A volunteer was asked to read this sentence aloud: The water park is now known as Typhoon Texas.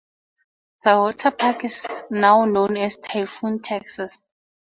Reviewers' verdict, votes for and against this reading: accepted, 2, 0